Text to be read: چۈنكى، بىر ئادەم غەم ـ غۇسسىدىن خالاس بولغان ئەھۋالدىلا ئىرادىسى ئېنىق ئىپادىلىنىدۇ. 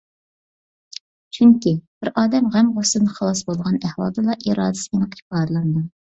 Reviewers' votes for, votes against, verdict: 2, 1, accepted